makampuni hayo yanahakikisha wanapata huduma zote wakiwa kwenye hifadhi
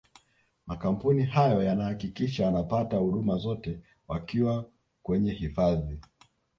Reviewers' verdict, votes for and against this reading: accepted, 2, 1